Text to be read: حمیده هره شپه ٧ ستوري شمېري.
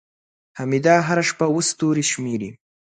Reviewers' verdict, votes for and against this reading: rejected, 0, 2